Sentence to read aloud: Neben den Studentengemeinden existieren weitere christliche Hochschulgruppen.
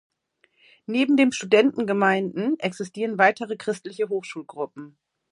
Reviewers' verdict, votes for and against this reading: accepted, 2, 1